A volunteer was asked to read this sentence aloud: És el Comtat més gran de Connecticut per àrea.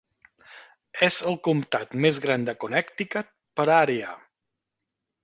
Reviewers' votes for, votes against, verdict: 3, 0, accepted